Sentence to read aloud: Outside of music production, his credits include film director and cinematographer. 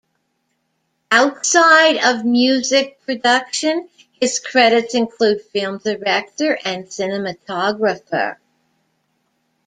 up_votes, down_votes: 2, 1